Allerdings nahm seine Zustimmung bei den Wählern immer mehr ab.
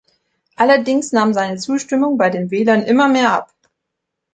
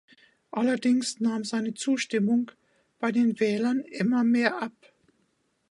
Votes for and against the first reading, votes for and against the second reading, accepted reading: 2, 0, 1, 2, first